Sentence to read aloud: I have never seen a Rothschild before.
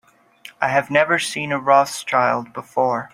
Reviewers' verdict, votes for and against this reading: accepted, 3, 1